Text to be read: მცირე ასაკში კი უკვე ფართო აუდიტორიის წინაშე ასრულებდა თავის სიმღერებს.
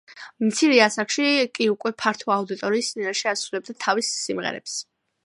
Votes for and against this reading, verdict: 2, 0, accepted